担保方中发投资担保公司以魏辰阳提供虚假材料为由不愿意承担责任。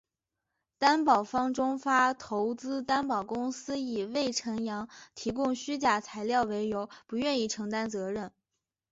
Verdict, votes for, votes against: accepted, 2, 0